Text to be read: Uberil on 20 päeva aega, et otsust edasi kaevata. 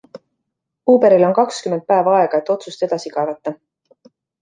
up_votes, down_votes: 0, 2